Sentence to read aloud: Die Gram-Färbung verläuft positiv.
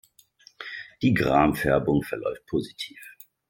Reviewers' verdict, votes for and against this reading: accepted, 2, 0